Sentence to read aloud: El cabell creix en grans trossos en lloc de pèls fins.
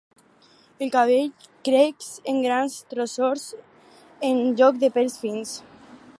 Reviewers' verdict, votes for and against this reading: rejected, 0, 4